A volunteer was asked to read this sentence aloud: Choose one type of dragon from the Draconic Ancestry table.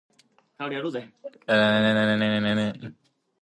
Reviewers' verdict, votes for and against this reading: rejected, 0, 2